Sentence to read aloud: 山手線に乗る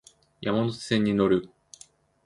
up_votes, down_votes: 2, 0